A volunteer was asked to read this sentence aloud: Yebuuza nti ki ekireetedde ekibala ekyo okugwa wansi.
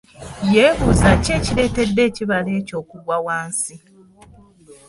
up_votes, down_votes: 1, 2